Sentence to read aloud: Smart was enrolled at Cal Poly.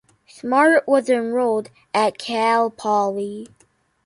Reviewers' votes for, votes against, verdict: 2, 0, accepted